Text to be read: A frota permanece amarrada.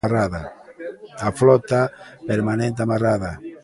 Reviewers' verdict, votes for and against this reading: rejected, 0, 2